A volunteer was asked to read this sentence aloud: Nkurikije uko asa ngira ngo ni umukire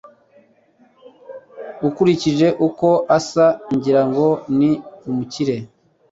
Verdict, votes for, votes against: rejected, 1, 2